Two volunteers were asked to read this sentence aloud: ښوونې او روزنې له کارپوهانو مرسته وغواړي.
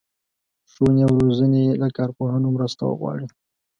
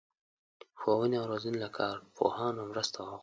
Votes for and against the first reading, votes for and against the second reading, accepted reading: 2, 0, 1, 2, first